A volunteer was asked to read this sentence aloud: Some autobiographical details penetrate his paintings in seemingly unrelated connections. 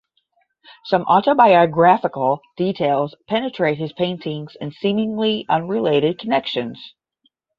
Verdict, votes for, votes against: accepted, 10, 0